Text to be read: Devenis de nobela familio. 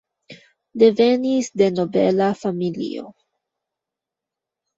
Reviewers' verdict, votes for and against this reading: accepted, 2, 0